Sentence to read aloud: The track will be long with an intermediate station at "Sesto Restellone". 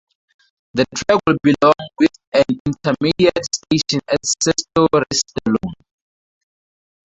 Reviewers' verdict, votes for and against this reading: rejected, 2, 2